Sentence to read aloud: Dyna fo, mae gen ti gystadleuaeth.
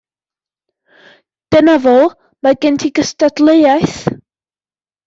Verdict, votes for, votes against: accepted, 2, 0